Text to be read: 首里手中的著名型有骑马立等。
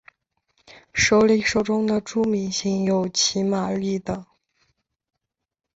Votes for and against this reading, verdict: 3, 0, accepted